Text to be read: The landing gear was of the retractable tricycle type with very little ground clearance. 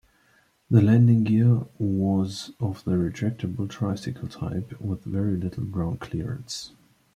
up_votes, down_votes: 2, 0